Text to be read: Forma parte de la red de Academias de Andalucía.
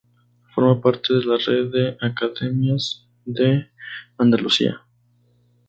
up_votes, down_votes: 2, 0